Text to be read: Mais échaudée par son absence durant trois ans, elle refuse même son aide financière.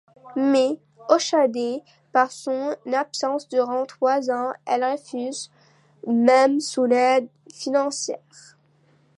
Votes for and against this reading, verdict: 1, 2, rejected